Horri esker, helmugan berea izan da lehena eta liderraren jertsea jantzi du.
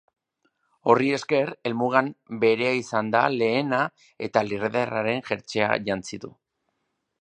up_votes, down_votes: 0, 2